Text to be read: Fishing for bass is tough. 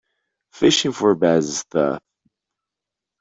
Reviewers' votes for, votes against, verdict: 0, 2, rejected